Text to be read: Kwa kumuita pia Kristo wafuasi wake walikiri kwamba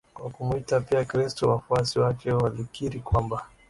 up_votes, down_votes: 2, 0